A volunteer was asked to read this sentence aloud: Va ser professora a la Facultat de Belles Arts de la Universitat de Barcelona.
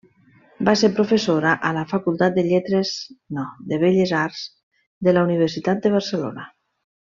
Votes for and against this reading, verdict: 0, 2, rejected